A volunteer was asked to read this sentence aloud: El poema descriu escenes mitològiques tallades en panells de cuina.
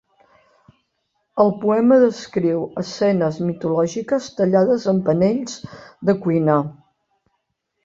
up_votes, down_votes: 1, 2